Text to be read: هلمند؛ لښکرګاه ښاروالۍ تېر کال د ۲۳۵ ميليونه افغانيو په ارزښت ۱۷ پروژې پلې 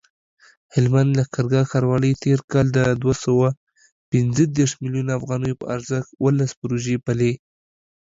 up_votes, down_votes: 0, 2